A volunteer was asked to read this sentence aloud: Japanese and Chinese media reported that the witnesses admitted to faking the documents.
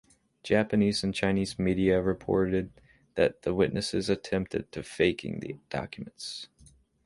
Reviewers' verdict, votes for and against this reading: rejected, 1, 2